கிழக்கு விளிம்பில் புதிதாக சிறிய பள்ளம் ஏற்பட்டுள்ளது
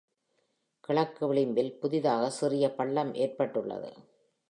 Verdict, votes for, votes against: accepted, 2, 1